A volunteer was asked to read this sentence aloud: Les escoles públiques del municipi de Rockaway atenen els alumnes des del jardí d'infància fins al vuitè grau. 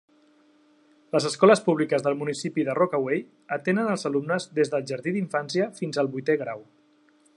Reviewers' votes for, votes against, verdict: 3, 0, accepted